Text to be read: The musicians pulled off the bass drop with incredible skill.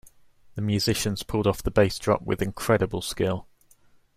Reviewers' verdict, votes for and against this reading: accepted, 2, 0